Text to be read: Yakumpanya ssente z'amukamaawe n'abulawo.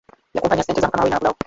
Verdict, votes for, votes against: rejected, 0, 2